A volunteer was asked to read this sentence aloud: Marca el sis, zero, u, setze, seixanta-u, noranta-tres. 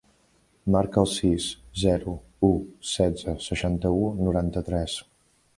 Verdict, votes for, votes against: accepted, 3, 0